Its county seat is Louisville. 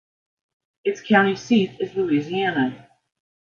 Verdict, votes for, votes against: rejected, 0, 2